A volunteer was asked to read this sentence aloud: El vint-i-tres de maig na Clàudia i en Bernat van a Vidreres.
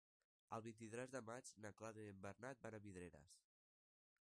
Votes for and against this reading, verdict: 1, 2, rejected